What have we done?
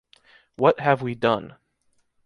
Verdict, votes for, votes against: accepted, 2, 0